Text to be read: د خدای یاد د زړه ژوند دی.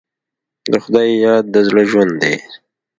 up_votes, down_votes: 2, 0